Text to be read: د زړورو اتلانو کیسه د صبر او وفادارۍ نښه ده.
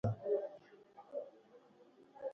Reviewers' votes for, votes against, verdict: 0, 2, rejected